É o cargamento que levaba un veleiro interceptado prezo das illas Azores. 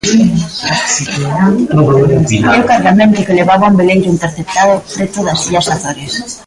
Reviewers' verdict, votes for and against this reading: rejected, 0, 2